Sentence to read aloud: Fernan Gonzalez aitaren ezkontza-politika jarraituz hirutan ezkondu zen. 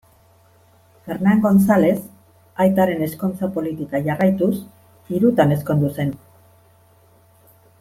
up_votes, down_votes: 4, 0